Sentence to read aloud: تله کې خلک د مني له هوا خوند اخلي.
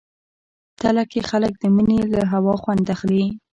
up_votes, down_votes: 2, 1